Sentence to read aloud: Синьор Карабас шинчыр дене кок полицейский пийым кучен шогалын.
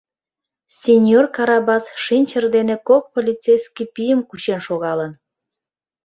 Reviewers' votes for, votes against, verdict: 2, 0, accepted